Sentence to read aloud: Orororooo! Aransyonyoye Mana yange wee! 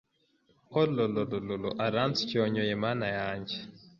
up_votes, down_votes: 0, 2